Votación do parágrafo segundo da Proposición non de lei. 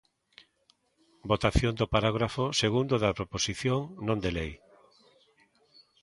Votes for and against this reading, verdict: 2, 0, accepted